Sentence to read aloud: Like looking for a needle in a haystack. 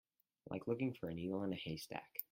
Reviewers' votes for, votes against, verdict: 4, 2, accepted